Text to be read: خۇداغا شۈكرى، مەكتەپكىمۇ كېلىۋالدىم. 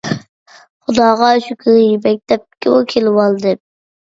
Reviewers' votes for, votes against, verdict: 0, 2, rejected